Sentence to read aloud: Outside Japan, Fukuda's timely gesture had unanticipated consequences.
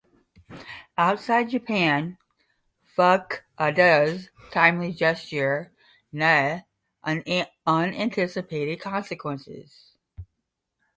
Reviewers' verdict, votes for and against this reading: rejected, 0, 5